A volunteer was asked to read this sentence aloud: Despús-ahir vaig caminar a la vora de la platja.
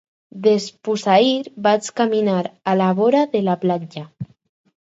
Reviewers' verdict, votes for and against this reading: accepted, 4, 0